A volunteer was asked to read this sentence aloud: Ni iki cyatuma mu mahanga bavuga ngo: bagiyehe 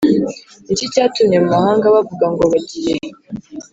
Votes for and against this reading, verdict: 1, 2, rejected